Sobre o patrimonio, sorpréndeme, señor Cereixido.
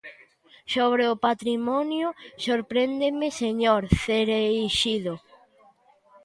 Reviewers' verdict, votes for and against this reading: rejected, 1, 2